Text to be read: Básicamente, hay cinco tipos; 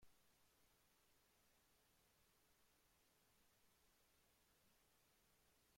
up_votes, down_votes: 1, 3